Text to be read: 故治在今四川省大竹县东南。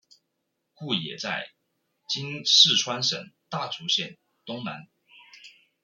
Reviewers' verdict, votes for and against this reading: rejected, 1, 2